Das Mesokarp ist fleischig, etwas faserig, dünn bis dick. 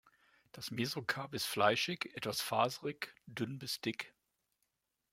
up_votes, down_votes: 2, 0